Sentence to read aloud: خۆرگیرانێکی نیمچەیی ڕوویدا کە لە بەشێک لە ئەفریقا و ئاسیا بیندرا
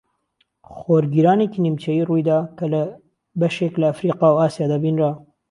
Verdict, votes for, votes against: rejected, 1, 2